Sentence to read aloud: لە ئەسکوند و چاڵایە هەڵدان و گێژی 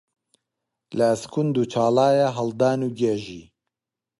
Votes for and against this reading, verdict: 2, 0, accepted